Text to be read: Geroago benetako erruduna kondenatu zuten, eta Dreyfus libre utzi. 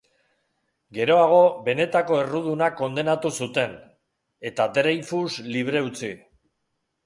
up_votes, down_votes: 3, 0